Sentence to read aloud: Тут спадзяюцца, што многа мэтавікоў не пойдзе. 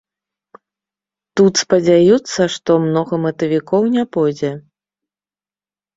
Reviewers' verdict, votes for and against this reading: accepted, 2, 0